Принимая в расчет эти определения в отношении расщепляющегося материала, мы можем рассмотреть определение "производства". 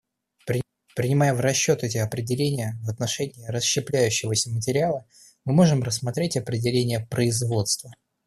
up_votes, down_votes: 2, 0